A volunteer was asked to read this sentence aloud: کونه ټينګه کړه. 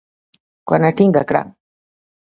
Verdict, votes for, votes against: rejected, 1, 2